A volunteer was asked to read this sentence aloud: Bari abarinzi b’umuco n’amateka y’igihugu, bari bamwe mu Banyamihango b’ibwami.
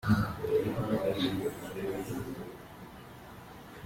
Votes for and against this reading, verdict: 0, 3, rejected